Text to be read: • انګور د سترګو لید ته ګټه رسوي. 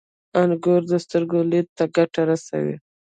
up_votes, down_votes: 2, 1